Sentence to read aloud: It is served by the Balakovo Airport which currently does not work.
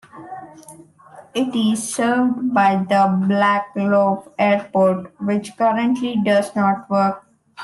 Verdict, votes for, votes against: rejected, 1, 2